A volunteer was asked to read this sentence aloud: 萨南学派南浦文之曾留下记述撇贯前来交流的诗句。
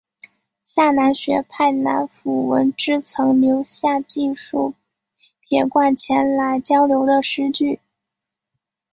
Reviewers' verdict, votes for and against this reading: rejected, 1, 2